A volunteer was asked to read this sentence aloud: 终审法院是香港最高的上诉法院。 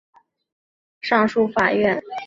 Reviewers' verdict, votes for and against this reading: rejected, 0, 2